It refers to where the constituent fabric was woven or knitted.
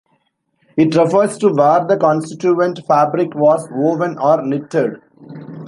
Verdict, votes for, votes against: rejected, 0, 2